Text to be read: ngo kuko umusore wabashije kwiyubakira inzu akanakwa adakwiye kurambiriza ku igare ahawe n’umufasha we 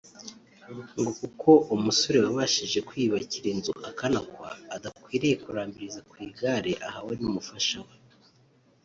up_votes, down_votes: 1, 2